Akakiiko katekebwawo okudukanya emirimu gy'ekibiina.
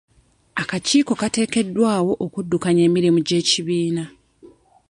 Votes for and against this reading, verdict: 0, 2, rejected